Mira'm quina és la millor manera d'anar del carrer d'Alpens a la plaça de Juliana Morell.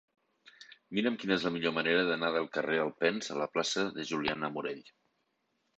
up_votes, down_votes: 0, 2